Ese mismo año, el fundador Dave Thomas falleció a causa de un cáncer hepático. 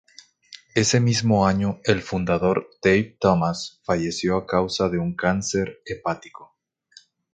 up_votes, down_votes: 2, 0